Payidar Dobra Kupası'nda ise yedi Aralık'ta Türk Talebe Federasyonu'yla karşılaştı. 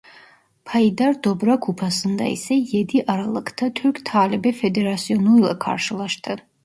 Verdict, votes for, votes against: accepted, 2, 0